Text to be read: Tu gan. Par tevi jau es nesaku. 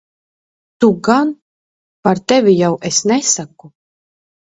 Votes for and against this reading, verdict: 1, 2, rejected